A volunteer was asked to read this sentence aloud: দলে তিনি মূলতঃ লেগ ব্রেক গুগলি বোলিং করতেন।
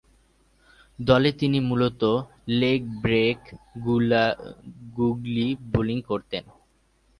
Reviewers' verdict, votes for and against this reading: rejected, 0, 2